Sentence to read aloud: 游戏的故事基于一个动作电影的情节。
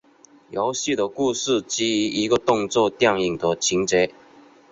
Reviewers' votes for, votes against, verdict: 5, 0, accepted